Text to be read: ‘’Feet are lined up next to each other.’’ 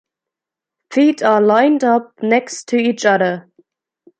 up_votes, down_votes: 2, 0